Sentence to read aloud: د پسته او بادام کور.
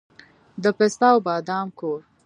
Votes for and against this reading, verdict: 1, 2, rejected